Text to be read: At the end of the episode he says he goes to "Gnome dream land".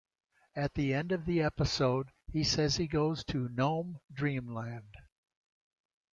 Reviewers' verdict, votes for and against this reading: accepted, 2, 0